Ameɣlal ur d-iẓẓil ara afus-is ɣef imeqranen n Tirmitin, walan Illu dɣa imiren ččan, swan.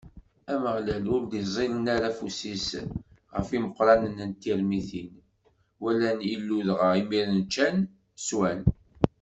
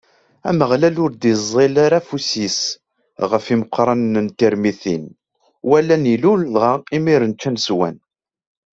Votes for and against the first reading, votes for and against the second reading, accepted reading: 1, 2, 2, 0, second